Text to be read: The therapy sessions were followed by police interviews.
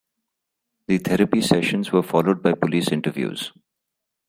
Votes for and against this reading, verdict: 2, 0, accepted